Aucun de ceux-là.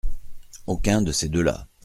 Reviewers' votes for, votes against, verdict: 0, 2, rejected